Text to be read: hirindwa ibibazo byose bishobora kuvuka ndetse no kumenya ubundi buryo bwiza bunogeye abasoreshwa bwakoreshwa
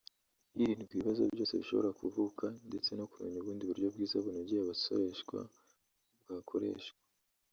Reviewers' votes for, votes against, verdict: 1, 2, rejected